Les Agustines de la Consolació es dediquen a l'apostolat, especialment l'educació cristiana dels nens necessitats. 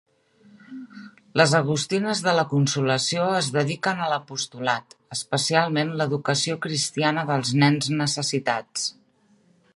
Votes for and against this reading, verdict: 3, 0, accepted